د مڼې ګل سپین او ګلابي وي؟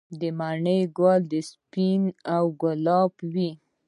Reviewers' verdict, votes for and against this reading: rejected, 1, 2